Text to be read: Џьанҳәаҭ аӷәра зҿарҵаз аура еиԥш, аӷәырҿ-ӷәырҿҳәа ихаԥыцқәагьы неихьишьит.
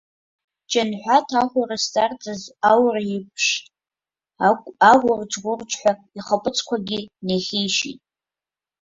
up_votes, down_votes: 1, 3